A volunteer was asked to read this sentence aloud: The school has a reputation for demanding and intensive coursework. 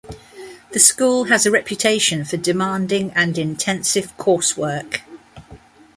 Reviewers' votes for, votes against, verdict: 2, 0, accepted